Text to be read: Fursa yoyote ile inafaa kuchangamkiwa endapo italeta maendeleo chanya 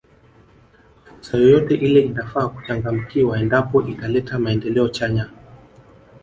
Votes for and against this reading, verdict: 2, 0, accepted